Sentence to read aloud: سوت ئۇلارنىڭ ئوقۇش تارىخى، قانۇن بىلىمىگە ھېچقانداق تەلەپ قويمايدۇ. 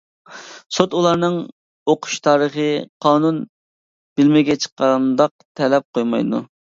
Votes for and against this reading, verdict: 0, 2, rejected